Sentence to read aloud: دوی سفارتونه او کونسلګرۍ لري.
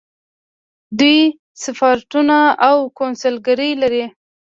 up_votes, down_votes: 0, 2